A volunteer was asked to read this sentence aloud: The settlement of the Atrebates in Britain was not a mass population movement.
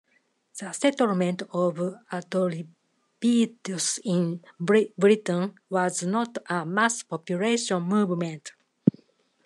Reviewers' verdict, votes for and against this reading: rejected, 0, 2